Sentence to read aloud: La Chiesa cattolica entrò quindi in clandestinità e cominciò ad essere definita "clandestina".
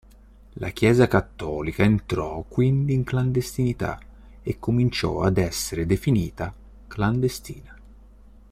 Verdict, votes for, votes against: accepted, 2, 0